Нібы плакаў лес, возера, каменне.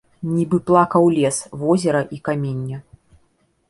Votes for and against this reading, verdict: 1, 2, rejected